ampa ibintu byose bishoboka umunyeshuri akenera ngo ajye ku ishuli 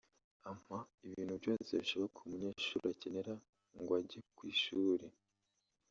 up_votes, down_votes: 1, 2